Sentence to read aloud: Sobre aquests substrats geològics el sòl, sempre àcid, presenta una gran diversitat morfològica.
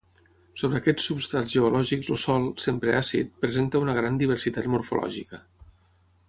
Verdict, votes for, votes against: accepted, 6, 3